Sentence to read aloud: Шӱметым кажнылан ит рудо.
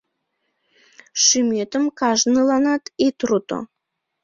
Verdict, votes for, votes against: rejected, 0, 2